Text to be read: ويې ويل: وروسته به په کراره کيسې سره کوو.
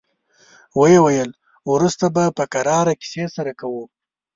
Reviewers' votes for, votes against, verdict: 2, 0, accepted